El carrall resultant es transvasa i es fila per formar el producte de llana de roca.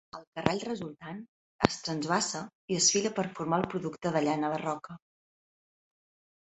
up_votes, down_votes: 1, 3